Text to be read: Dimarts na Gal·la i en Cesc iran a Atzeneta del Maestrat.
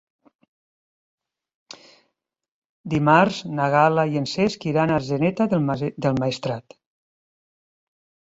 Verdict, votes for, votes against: rejected, 2, 3